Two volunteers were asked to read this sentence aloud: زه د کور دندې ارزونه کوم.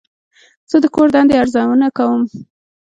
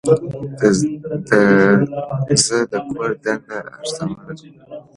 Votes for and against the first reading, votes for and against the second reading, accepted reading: 2, 0, 1, 2, first